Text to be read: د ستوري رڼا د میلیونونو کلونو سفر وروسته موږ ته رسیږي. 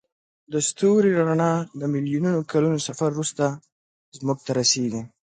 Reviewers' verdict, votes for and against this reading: accepted, 3, 0